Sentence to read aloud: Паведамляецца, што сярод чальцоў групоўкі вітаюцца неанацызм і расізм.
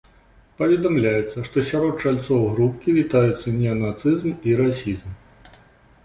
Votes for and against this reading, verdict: 0, 2, rejected